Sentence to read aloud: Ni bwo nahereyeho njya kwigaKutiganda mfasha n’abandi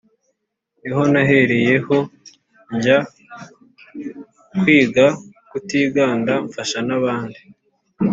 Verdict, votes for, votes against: rejected, 0, 2